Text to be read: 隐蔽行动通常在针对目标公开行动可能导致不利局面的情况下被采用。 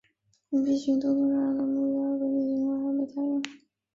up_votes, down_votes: 0, 2